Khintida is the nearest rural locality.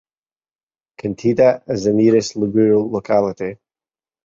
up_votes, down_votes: 0, 2